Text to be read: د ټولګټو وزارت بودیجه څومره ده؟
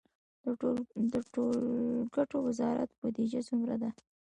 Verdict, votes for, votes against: rejected, 0, 2